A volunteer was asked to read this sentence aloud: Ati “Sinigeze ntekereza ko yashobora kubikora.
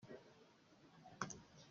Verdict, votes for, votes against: rejected, 0, 2